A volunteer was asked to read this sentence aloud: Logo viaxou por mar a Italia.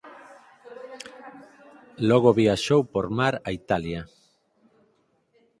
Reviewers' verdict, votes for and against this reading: rejected, 0, 4